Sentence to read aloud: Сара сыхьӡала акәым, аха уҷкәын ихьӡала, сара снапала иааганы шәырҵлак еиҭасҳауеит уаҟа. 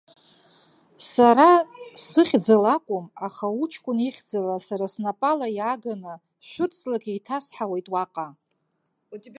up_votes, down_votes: 0, 2